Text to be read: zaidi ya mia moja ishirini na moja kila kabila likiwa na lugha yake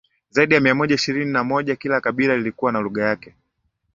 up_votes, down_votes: 3, 0